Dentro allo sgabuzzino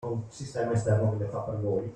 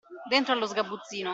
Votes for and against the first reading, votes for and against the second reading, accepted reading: 0, 2, 2, 0, second